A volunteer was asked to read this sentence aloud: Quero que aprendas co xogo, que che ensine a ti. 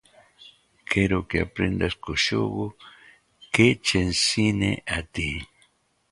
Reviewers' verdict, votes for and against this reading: accepted, 2, 1